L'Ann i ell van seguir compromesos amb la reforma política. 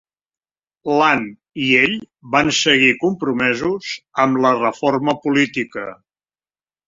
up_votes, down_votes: 4, 0